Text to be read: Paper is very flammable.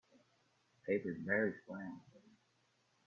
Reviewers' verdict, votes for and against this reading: rejected, 1, 2